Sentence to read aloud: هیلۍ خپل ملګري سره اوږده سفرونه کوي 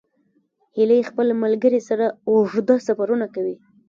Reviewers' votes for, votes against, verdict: 0, 2, rejected